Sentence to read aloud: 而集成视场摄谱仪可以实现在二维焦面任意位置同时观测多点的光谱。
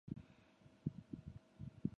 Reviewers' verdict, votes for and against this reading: rejected, 0, 3